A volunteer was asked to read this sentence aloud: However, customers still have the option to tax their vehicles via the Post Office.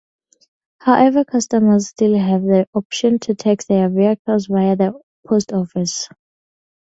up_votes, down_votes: 4, 0